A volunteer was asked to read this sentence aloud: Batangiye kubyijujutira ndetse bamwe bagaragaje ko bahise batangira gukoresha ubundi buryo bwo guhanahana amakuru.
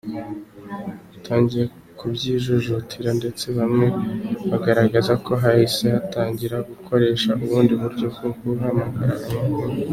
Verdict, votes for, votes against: accepted, 2, 1